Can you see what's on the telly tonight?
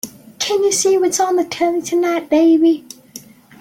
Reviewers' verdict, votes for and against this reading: rejected, 0, 2